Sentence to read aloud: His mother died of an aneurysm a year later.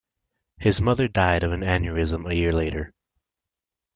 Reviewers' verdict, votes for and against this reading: accepted, 2, 1